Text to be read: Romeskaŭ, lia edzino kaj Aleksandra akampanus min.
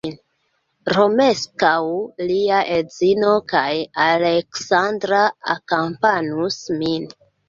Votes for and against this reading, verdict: 3, 1, accepted